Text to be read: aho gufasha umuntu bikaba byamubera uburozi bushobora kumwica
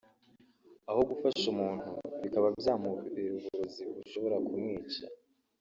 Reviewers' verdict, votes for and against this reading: rejected, 1, 2